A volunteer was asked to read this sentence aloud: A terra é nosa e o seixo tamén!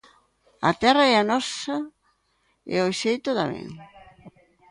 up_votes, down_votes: 0, 2